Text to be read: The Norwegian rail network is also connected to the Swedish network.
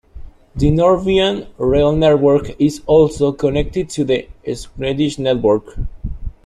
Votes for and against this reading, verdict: 0, 2, rejected